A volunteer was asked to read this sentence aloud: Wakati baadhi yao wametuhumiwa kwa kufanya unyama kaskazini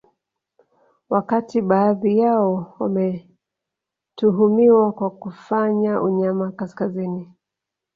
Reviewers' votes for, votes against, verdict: 2, 0, accepted